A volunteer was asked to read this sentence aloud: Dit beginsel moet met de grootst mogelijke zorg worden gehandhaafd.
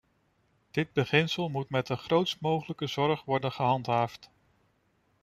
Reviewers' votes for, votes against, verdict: 2, 0, accepted